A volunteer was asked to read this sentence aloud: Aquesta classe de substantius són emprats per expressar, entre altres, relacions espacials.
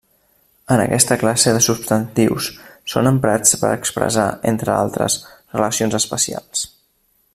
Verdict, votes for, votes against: rejected, 0, 2